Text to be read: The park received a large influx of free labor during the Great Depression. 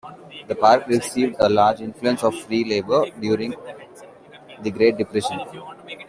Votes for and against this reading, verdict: 2, 0, accepted